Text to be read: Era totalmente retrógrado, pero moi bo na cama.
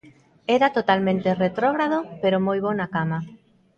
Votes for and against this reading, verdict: 0, 2, rejected